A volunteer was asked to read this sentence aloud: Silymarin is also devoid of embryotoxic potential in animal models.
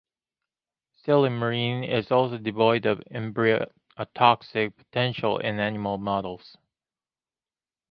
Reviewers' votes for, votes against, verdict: 1, 2, rejected